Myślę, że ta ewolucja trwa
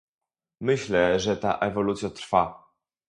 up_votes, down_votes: 2, 2